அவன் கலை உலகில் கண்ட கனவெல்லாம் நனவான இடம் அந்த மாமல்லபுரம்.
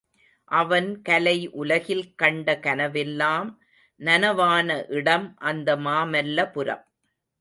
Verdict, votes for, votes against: accepted, 2, 0